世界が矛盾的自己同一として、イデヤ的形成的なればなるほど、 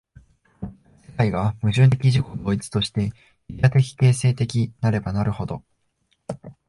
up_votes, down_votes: 0, 2